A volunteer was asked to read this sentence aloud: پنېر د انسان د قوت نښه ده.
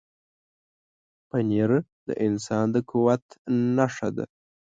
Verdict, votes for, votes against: accepted, 2, 0